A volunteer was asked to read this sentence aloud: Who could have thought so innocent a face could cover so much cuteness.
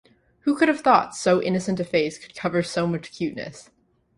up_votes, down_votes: 2, 0